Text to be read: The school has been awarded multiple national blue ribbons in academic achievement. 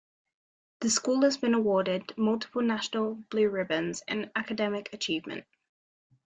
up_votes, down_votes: 2, 0